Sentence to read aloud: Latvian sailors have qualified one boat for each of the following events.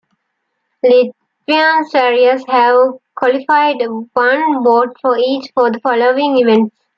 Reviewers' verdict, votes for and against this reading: rejected, 1, 2